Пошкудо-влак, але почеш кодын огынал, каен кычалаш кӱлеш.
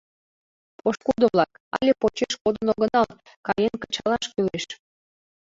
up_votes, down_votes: 2, 0